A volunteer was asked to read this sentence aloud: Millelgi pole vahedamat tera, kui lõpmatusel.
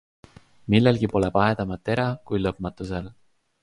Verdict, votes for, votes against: accepted, 3, 0